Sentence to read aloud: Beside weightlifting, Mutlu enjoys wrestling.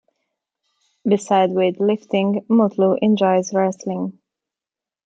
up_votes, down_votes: 2, 1